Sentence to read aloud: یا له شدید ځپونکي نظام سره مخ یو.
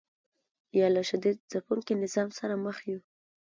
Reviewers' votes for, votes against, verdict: 2, 0, accepted